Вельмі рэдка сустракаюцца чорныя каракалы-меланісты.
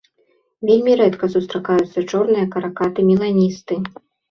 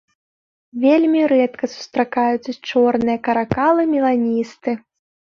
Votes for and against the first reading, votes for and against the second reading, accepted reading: 0, 2, 2, 0, second